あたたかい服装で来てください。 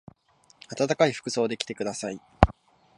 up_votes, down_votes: 2, 0